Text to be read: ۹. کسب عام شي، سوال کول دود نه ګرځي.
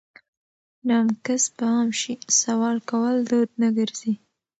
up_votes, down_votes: 0, 2